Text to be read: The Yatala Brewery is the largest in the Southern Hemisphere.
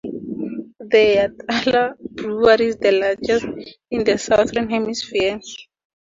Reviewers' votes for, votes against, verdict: 4, 0, accepted